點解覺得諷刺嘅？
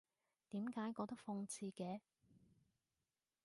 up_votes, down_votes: 2, 0